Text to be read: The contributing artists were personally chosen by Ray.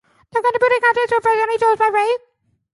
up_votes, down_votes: 0, 2